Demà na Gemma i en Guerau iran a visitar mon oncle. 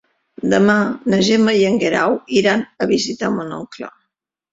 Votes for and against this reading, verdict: 2, 0, accepted